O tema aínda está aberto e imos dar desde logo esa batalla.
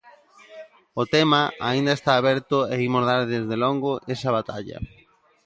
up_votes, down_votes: 0, 2